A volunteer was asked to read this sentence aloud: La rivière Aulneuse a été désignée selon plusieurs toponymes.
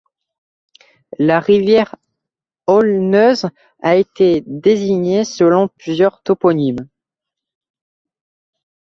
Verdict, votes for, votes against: accepted, 2, 1